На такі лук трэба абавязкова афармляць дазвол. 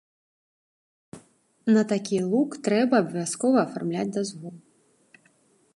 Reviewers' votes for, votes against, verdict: 2, 0, accepted